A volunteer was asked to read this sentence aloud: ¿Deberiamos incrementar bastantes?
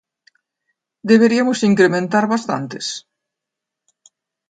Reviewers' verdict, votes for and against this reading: rejected, 0, 2